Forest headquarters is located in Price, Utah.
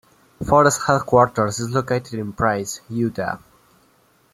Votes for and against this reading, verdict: 2, 0, accepted